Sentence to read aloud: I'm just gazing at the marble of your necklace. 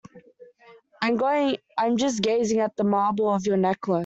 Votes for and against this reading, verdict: 0, 2, rejected